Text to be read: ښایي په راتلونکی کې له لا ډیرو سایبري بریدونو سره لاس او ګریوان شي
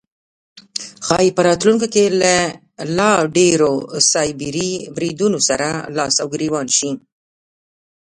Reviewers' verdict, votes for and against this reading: accepted, 2, 1